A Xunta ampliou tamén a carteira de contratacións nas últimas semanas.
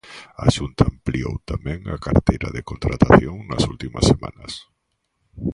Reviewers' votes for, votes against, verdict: 0, 2, rejected